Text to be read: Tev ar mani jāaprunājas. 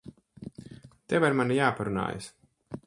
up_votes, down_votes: 4, 0